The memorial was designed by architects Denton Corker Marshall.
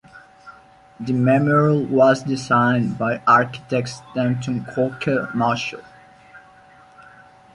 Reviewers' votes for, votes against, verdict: 2, 1, accepted